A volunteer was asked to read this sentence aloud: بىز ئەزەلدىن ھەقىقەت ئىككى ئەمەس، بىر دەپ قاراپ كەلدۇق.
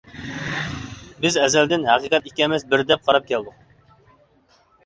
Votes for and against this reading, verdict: 2, 0, accepted